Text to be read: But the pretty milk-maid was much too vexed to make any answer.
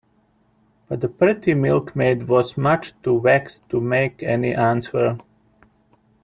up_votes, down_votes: 2, 0